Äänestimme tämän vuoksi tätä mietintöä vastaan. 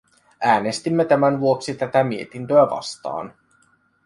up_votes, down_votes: 2, 0